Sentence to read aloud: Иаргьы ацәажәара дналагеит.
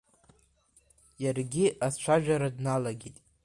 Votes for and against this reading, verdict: 2, 1, accepted